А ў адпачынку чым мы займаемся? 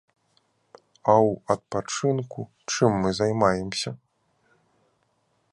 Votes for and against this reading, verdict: 2, 0, accepted